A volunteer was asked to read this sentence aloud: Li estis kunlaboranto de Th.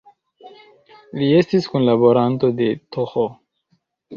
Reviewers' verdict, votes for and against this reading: accepted, 2, 0